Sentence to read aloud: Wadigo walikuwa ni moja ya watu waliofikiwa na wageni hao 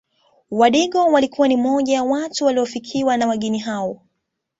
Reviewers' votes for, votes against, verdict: 2, 0, accepted